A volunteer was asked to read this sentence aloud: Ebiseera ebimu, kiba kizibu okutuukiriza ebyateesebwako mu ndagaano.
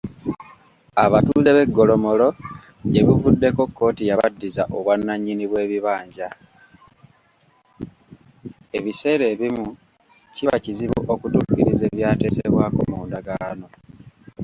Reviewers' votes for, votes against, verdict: 0, 2, rejected